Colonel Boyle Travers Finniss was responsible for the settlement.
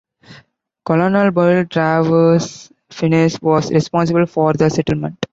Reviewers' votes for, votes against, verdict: 2, 1, accepted